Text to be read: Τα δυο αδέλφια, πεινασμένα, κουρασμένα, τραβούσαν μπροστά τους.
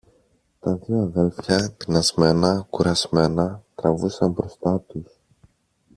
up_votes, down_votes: 0, 2